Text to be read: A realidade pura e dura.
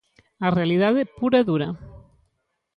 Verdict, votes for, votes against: accepted, 2, 0